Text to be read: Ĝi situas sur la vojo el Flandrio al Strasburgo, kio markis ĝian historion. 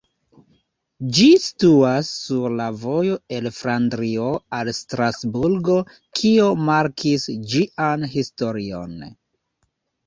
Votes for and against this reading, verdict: 1, 2, rejected